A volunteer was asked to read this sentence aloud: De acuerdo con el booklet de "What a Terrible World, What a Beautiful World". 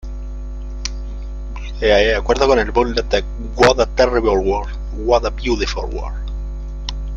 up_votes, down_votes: 1, 2